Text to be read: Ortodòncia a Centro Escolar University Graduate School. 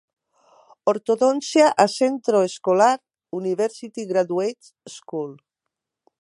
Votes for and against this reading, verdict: 1, 2, rejected